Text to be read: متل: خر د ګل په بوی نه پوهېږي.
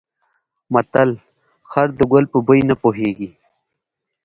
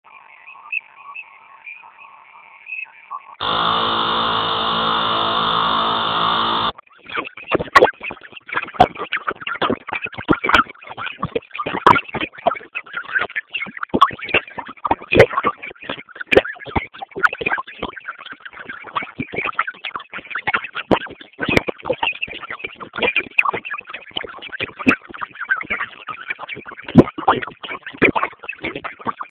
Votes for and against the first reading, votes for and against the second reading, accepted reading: 2, 0, 0, 2, first